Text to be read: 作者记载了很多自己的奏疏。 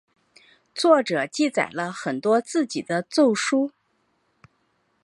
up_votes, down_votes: 2, 0